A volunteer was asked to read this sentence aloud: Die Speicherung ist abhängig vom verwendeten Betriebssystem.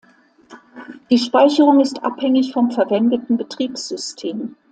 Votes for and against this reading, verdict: 2, 0, accepted